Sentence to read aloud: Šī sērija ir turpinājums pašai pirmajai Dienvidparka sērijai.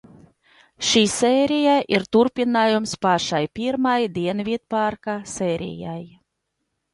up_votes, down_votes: 0, 2